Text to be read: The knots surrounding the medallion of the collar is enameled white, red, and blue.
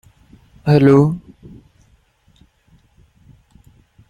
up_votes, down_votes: 0, 2